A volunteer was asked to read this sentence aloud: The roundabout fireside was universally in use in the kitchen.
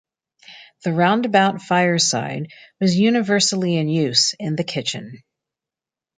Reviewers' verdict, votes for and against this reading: accepted, 2, 0